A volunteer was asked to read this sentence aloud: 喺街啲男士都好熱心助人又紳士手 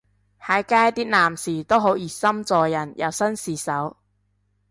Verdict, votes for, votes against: accepted, 2, 0